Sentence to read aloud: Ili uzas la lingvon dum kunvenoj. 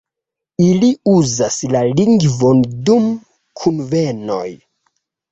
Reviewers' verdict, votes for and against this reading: accepted, 2, 0